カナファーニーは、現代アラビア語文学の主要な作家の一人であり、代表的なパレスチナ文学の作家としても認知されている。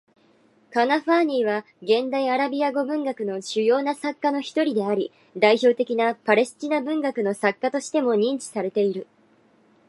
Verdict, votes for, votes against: accepted, 2, 1